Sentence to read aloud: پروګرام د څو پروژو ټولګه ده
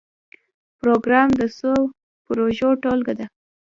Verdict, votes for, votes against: accepted, 2, 0